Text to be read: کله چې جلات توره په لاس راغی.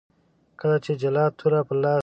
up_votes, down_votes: 1, 2